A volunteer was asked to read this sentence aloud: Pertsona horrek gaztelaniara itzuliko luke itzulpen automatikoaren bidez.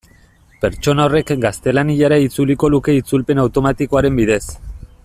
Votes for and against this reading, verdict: 2, 0, accepted